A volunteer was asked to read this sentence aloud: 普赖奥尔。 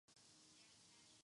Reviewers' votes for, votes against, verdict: 0, 2, rejected